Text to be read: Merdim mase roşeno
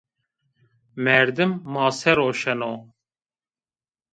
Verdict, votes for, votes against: accepted, 2, 0